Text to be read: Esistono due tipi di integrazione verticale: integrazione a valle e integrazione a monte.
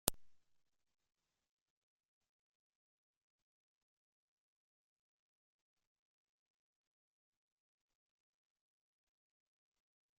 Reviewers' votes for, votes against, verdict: 0, 2, rejected